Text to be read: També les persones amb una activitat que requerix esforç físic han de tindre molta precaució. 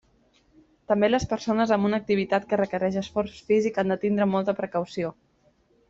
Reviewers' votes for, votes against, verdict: 2, 1, accepted